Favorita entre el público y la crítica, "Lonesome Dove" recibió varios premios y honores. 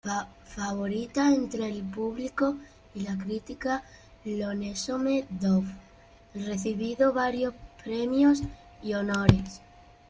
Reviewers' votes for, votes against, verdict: 0, 2, rejected